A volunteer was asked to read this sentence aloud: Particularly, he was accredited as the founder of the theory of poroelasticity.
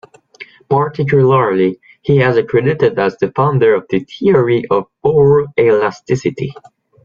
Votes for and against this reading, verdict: 1, 2, rejected